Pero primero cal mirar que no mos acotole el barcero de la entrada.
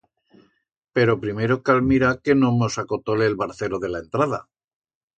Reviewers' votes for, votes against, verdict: 2, 0, accepted